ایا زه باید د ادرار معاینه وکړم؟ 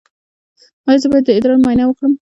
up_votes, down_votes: 2, 0